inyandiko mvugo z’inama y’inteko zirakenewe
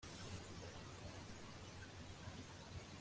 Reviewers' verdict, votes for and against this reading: rejected, 1, 2